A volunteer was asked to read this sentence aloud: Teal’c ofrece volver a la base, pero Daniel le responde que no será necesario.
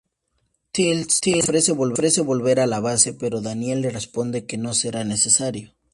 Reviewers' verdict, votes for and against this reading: rejected, 2, 4